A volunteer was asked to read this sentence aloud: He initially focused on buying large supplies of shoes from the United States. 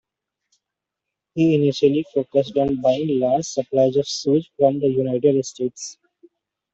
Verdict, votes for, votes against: rejected, 1, 2